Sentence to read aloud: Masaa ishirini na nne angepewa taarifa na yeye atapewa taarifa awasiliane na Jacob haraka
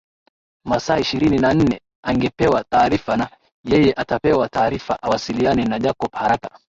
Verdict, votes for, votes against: accepted, 2, 0